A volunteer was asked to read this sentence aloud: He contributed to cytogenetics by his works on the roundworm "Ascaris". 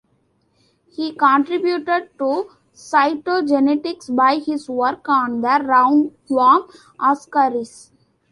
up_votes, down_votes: 0, 2